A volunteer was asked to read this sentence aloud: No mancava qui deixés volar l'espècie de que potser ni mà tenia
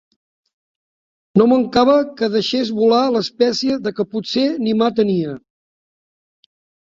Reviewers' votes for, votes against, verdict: 0, 2, rejected